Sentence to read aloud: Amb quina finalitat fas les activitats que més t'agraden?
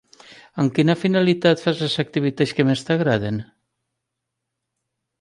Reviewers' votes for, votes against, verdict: 3, 0, accepted